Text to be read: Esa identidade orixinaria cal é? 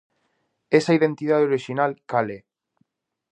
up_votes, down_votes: 0, 2